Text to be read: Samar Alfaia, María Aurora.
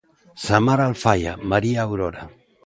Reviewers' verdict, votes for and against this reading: accepted, 2, 0